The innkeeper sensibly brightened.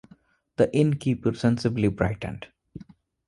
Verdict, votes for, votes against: accepted, 2, 0